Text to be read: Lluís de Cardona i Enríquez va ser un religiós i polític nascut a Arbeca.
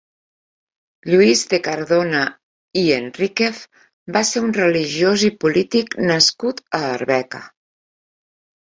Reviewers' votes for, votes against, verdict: 3, 0, accepted